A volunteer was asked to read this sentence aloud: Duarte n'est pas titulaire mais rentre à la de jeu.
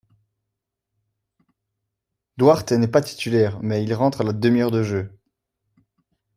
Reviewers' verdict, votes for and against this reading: rejected, 0, 2